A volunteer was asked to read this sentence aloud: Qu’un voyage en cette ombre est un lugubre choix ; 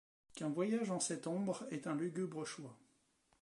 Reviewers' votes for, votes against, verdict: 1, 2, rejected